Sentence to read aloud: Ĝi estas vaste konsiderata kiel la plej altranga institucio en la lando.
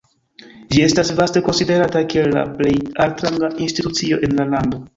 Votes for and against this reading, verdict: 1, 2, rejected